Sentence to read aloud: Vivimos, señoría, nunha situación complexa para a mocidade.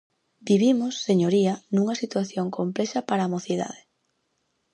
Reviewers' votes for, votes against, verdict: 4, 0, accepted